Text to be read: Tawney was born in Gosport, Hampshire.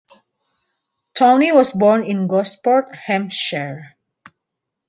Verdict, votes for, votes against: accepted, 2, 0